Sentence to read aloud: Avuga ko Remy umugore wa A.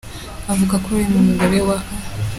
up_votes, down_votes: 3, 0